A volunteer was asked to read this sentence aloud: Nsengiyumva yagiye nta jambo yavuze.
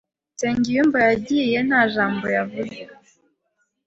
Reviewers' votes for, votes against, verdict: 2, 0, accepted